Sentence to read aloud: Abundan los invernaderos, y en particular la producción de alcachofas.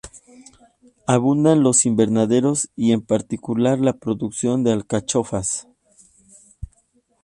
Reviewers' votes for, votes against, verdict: 4, 0, accepted